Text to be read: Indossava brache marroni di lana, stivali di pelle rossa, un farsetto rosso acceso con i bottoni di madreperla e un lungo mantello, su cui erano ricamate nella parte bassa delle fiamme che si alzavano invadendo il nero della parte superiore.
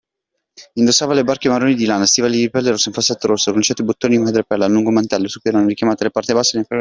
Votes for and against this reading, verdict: 0, 2, rejected